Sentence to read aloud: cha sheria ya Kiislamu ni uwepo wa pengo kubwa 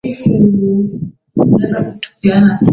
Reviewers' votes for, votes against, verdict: 0, 2, rejected